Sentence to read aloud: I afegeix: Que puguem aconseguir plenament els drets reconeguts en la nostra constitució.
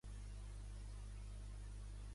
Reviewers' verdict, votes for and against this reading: rejected, 0, 2